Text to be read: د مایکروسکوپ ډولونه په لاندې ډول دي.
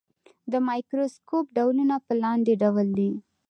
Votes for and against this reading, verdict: 1, 2, rejected